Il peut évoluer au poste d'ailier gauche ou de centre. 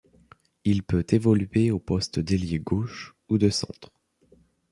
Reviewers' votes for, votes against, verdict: 2, 0, accepted